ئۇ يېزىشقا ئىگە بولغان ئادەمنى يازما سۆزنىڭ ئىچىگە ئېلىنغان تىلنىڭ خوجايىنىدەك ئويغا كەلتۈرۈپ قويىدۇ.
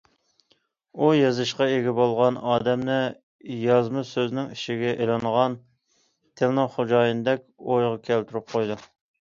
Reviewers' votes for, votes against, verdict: 2, 0, accepted